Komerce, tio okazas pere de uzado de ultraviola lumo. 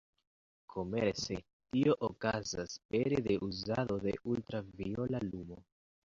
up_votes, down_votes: 0, 2